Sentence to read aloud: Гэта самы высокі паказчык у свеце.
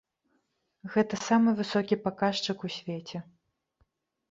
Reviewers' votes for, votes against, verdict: 2, 0, accepted